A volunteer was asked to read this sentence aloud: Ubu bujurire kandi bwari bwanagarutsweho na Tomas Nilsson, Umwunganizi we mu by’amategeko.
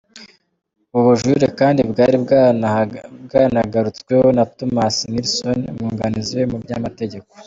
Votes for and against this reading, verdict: 1, 2, rejected